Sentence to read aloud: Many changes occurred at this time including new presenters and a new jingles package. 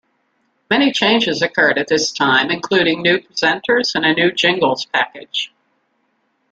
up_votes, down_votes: 0, 2